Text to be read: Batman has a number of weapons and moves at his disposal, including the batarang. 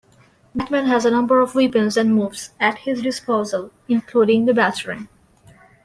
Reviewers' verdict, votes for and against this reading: rejected, 1, 2